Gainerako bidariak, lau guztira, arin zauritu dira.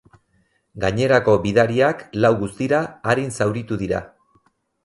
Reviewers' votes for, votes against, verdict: 4, 0, accepted